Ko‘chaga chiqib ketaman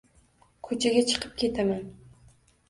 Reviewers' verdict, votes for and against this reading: accepted, 2, 0